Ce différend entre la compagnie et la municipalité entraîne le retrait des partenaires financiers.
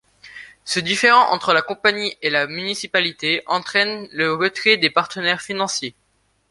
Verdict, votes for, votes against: accepted, 2, 0